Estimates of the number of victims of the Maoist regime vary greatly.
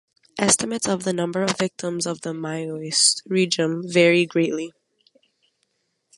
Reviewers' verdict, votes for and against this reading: accepted, 2, 1